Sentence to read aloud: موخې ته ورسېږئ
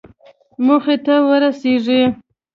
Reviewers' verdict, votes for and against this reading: accepted, 2, 0